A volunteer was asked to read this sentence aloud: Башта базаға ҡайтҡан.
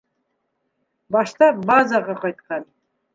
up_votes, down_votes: 3, 0